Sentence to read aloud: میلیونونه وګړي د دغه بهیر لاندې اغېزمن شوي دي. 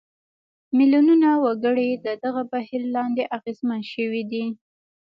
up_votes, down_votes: 2, 0